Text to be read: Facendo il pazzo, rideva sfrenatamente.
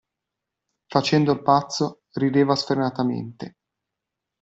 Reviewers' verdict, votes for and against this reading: accepted, 2, 0